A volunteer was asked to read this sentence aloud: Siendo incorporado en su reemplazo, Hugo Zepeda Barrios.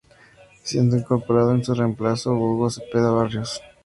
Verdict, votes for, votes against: accepted, 2, 0